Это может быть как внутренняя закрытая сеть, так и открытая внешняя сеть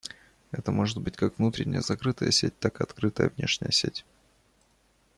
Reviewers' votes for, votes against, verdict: 2, 0, accepted